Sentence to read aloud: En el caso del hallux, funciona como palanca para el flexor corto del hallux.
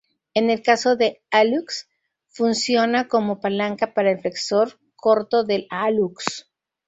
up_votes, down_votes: 0, 2